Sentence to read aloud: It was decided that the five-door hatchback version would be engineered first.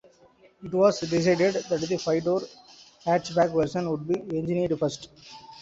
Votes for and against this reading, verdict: 2, 1, accepted